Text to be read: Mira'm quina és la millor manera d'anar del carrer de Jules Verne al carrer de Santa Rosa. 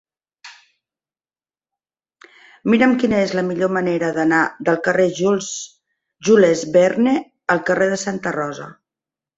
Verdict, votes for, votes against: rejected, 0, 2